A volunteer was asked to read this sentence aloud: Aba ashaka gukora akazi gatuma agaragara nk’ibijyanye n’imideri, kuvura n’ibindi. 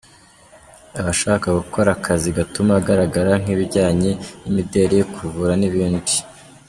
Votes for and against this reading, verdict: 2, 0, accepted